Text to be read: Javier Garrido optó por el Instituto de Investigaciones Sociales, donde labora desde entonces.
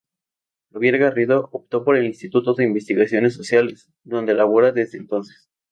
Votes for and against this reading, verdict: 2, 0, accepted